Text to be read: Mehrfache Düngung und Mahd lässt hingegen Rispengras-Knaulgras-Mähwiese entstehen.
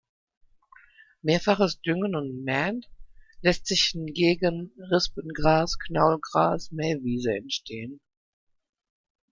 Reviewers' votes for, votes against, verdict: 0, 2, rejected